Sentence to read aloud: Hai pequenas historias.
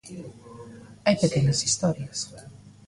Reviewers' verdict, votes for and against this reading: rejected, 1, 2